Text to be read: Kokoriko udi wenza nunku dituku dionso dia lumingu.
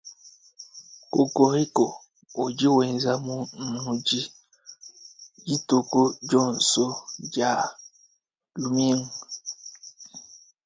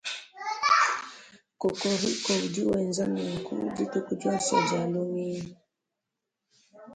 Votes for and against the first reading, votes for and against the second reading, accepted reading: 0, 2, 2, 0, second